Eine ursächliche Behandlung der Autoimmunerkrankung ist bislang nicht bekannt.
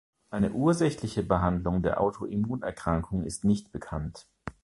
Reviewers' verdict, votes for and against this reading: rejected, 0, 2